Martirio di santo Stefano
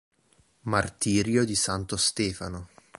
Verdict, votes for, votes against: accepted, 3, 0